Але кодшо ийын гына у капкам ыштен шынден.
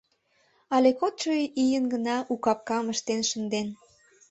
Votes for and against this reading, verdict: 2, 0, accepted